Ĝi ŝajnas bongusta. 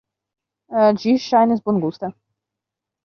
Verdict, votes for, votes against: rejected, 0, 2